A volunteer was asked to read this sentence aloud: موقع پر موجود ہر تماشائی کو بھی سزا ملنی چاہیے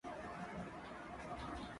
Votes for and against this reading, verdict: 0, 3, rejected